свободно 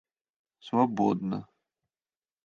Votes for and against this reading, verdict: 1, 2, rejected